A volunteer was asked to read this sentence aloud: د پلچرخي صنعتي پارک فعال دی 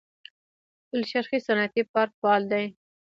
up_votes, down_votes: 1, 2